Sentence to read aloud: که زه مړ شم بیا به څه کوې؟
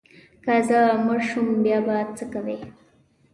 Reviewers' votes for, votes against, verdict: 0, 2, rejected